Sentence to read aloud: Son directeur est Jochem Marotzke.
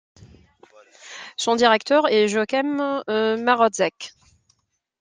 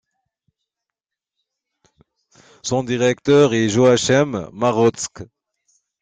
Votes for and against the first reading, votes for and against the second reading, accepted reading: 2, 1, 0, 2, first